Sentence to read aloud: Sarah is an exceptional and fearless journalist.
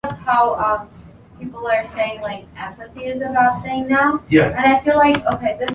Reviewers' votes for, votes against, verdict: 0, 2, rejected